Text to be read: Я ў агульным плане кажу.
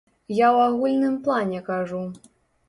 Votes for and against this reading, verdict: 2, 0, accepted